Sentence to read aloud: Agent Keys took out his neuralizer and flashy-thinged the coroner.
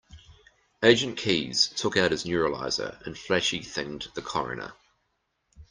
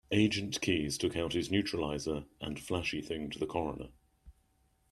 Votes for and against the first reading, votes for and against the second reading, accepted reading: 2, 0, 1, 2, first